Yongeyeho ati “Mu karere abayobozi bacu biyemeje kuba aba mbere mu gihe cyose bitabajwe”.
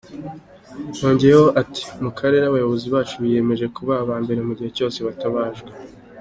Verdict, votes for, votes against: accepted, 2, 0